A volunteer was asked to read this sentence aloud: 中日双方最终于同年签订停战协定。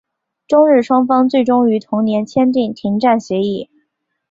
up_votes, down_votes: 1, 2